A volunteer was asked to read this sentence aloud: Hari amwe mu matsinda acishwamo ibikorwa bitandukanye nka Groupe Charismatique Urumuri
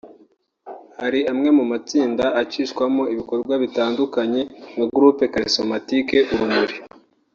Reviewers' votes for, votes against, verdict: 3, 0, accepted